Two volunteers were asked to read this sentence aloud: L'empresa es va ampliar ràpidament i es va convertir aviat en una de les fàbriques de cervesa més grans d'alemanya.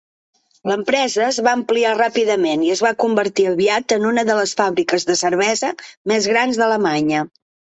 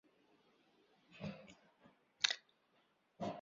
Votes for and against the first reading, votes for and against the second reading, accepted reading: 3, 0, 0, 2, first